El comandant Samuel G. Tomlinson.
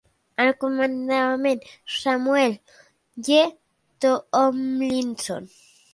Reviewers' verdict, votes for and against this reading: rejected, 1, 2